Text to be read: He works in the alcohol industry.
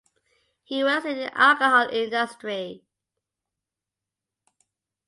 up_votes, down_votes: 2, 0